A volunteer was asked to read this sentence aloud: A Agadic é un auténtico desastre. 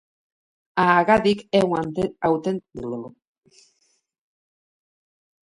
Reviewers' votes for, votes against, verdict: 0, 3, rejected